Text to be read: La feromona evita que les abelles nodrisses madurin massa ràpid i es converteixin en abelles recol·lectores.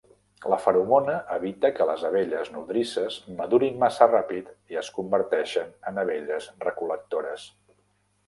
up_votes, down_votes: 1, 2